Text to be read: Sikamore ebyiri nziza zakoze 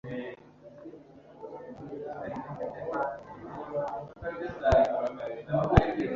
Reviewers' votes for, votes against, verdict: 1, 2, rejected